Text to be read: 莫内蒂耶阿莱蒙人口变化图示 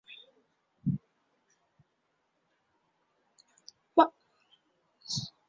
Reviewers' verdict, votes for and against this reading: rejected, 0, 3